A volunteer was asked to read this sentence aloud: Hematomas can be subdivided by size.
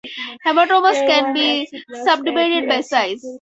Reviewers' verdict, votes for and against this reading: rejected, 2, 4